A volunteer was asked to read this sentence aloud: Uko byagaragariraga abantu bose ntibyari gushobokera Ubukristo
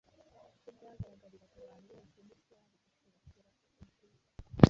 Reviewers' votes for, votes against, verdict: 2, 3, rejected